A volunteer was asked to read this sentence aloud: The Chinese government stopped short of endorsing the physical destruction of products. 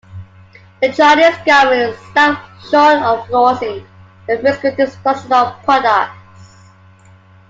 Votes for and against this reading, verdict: 1, 2, rejected